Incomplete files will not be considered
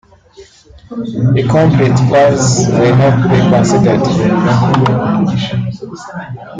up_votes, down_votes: 0, 2